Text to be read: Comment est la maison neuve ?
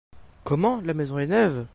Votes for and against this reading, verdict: 0, 2, rejected